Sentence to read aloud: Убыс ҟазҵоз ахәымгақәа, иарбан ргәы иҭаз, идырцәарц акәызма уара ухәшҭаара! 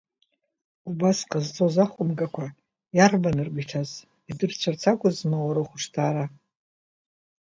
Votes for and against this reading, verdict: 1, 2, rejected